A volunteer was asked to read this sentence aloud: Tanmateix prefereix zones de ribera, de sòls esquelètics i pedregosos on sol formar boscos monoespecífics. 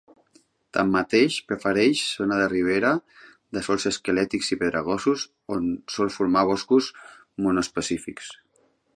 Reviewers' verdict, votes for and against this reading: accepted, 3, 0